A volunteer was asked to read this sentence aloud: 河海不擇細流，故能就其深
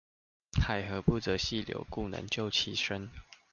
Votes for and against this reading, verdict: 0, 2, rejected